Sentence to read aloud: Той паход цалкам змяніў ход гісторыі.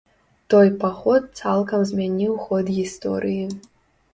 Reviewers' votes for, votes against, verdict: 2, 0, accepted